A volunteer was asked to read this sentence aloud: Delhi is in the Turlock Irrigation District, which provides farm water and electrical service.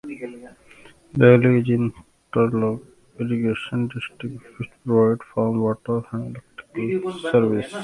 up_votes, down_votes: 0, 2